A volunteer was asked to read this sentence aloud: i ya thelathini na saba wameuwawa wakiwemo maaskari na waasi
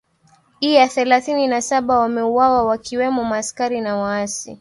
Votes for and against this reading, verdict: 1, 2, rejected